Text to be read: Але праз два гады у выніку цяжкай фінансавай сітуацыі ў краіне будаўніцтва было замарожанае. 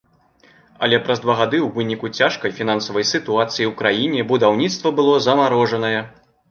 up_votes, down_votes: 2, 0